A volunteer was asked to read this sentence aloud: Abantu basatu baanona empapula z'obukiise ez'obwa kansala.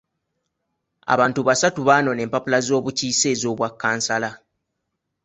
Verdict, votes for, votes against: accepted, 2, 0